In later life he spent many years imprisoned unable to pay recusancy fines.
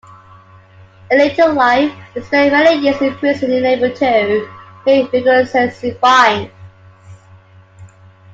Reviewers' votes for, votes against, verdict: 0, 2, rejected